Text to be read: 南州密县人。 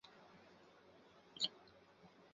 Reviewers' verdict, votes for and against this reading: rejected, 0, 2